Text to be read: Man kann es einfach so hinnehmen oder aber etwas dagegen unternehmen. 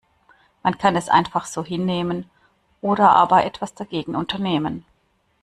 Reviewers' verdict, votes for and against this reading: accepted, 2, 0